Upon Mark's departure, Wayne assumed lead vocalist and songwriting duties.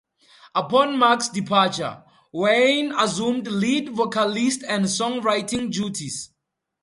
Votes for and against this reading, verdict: 2, 0, accepted